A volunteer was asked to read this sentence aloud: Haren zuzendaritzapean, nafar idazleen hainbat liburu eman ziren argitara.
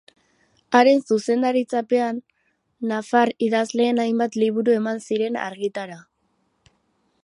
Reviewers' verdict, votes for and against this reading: accepted, 6, 0